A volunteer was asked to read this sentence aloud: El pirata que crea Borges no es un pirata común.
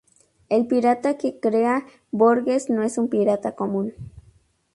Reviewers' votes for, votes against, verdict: 2, 0, accepted